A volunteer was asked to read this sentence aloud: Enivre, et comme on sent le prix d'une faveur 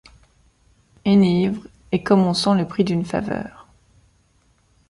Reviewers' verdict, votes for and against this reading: rejected, 1, 2